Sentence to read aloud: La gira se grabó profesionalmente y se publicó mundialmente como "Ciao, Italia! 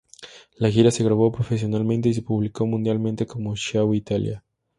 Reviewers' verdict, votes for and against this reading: rejected, 2, 2